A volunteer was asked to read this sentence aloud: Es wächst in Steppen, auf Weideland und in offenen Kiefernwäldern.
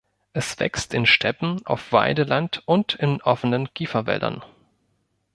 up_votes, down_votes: 1, 3